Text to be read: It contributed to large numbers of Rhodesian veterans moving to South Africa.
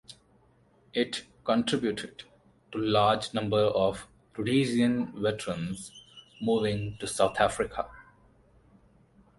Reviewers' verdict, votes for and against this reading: rejected, 2, 2